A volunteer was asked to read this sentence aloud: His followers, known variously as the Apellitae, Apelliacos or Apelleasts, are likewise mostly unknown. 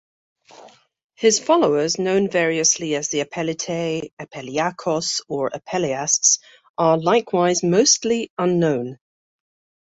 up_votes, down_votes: 2, 0